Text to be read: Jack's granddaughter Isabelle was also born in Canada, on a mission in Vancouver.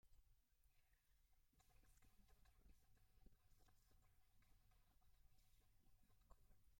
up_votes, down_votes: 0, 2